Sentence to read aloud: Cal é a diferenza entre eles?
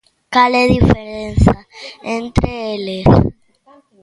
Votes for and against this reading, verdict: 0, 2, rejected